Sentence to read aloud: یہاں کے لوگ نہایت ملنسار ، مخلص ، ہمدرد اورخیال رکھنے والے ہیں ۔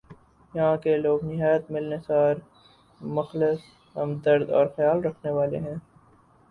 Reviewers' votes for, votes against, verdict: 6, 0, accepted